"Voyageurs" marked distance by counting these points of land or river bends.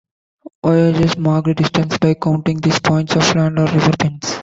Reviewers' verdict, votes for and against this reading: rejected, 0, 2